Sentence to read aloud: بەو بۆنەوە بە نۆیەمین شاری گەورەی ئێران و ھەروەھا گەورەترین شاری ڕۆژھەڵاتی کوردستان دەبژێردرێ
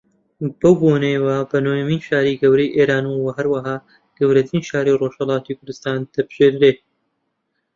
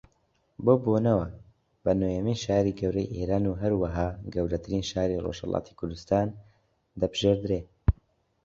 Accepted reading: second